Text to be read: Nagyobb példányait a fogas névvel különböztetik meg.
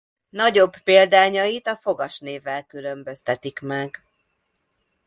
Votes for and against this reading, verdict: 2, 0, accepted